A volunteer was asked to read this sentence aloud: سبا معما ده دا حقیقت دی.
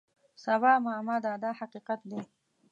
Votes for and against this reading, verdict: 2, 0, accepted